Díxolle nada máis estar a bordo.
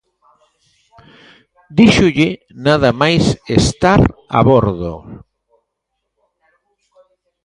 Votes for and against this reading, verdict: 0, 2, rejected